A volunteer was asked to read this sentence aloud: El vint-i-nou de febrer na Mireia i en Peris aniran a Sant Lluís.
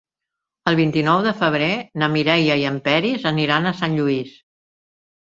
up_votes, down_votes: 2, 0